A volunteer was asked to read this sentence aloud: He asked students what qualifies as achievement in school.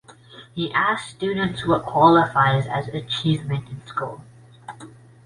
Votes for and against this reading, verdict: 2, 0, accepted